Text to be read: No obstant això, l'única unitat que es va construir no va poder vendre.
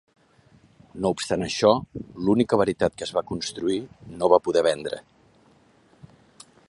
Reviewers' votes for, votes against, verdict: 0, 2, rejected